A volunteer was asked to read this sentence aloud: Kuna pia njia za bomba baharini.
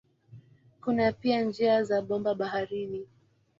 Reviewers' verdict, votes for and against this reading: accepted, 2, 0